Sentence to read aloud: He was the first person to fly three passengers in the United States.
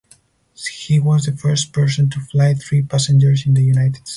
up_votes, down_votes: 2, 4